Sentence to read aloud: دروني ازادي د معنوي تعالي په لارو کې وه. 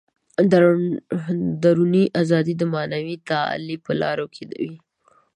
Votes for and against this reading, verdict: 0, 2, rejected